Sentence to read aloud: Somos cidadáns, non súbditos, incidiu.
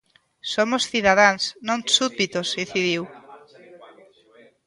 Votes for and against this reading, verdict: 0, 2, rejected